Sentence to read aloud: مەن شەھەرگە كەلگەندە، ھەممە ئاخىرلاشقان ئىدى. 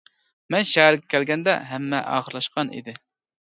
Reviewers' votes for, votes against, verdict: 2, 0, accepted